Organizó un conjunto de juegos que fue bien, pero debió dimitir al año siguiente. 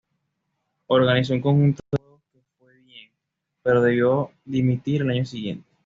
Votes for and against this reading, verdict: 2, 1, accepted